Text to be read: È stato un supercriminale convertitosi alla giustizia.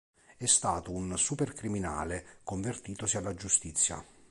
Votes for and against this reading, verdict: 2, 0, accepted